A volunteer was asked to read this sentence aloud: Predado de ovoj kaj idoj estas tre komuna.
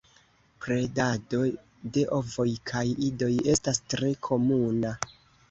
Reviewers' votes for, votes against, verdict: 2, 1, accepted